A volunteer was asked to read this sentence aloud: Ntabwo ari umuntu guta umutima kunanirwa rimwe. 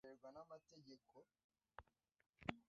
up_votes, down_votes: 0, 2